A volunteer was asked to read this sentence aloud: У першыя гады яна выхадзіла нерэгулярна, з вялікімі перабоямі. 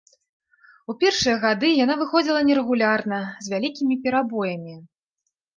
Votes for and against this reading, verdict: 1, 2, rejected